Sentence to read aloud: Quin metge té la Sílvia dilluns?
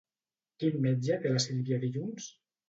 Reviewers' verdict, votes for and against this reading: accepted, 2, 0